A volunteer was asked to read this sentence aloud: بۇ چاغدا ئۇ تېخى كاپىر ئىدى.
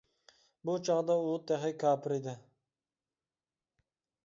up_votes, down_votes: 2, 0